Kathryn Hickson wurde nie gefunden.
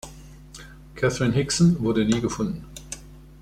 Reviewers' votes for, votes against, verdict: 2, 0, accepted